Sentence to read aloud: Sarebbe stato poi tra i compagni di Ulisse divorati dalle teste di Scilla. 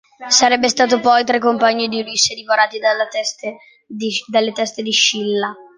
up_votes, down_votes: 0, 2